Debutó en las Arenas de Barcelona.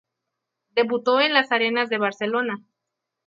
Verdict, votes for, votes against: accepted, 2, 0